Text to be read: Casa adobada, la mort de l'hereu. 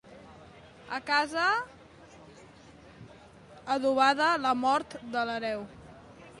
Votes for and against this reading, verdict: 0, 2, rejected